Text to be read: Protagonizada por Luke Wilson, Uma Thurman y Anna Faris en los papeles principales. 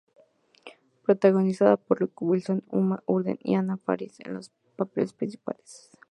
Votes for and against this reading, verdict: 0, 2, rejected